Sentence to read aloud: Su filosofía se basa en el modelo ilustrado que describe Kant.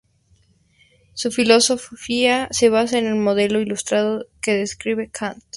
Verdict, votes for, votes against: rejected, 2, 2